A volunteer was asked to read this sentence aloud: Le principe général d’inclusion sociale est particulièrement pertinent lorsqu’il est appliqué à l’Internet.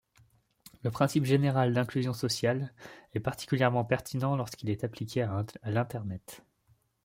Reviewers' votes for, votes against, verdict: 1, 2, rejected